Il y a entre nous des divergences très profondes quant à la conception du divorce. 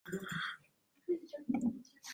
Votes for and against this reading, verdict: 0, 2, rejected